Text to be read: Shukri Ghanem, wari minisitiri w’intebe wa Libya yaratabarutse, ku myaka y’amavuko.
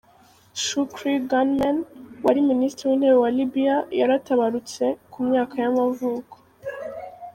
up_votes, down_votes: 2, 0